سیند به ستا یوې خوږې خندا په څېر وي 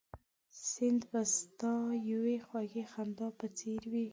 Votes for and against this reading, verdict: 1, 2, rejected